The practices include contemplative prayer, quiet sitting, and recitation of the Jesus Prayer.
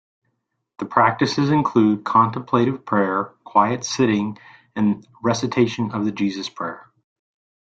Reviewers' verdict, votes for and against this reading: accepted, 3, 0